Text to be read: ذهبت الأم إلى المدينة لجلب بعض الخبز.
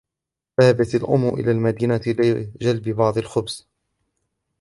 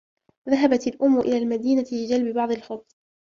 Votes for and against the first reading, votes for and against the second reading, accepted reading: 1, 2, 2, 0, second